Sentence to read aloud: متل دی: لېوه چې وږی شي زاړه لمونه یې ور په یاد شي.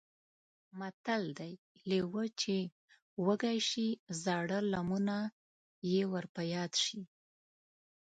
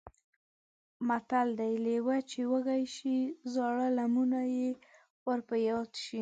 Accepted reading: second